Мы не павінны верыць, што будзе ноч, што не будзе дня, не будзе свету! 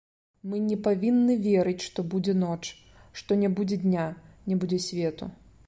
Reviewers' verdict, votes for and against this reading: accepted, 2, 0